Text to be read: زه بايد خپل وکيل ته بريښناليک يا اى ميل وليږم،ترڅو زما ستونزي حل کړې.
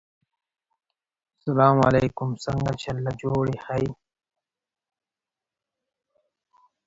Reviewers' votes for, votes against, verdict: 2, 4, rejected